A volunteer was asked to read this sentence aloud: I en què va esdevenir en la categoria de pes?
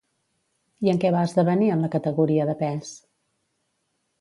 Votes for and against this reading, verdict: 2, 0, accepted